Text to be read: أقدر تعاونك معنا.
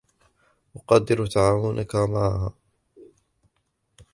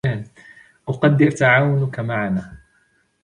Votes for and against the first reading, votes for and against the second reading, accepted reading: 1, 2, 2, 1, second